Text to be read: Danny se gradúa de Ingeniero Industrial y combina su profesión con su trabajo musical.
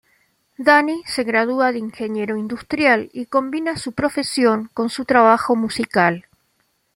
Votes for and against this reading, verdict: 2, 0, accepted